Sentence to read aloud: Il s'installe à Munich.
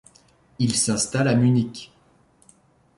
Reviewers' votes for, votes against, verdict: 2, 0, accepted